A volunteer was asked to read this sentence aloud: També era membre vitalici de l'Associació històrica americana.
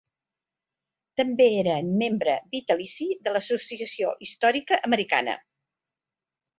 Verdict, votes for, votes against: accepted, 3, 0